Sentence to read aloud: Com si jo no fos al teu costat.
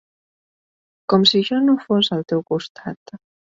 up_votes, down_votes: 3, 0